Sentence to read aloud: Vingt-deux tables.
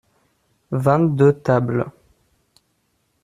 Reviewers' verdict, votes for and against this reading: accepted, 2, 0